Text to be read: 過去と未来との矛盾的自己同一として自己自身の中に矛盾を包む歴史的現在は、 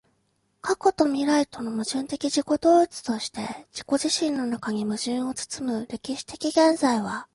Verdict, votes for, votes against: accepted, 2, 0